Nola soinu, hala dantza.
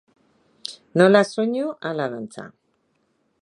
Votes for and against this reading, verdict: 3, 0, accepted